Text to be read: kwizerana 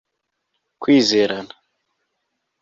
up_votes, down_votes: 2, 0